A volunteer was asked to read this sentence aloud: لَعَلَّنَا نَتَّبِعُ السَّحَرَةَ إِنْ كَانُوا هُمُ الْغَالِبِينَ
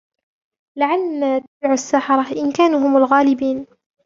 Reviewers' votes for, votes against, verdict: 1, 2, rejected